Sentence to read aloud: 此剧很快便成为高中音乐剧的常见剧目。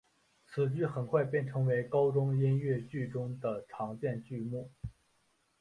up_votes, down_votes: 0, 2